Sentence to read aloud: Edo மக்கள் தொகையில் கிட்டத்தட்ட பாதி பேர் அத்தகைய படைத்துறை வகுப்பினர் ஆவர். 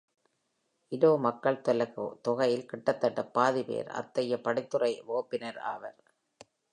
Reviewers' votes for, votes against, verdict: 0, 2, rejected